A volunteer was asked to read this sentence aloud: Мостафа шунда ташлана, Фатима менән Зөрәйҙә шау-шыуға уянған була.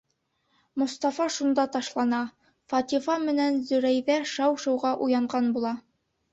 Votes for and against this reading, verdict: 1, 2, rejected